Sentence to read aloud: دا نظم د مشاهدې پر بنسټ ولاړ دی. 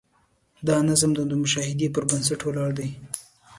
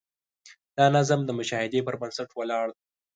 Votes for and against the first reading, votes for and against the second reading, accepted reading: 2, 0, 1, 2, first